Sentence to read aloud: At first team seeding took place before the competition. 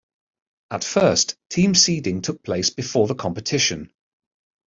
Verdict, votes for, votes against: accepted, 2, 0